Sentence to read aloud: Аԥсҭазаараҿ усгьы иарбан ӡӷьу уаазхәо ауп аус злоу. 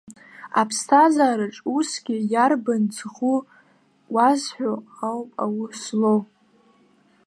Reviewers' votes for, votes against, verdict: 0, 2, rejected